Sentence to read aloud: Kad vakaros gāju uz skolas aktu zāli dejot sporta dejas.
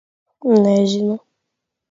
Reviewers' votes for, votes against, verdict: 0, 2, rejected